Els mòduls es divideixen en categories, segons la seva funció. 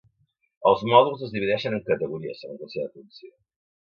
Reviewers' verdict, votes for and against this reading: rejected, 0, 3